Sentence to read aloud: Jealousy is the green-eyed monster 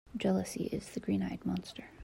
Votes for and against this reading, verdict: 2, 0, accepted